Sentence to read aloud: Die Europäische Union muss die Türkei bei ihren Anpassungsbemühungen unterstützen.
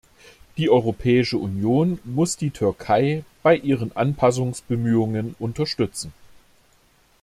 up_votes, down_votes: 2, 0